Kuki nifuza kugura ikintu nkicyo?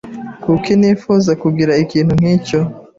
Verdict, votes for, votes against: rejected, 0, 2